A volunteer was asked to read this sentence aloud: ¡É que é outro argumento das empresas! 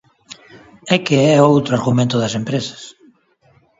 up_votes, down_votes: 2, 3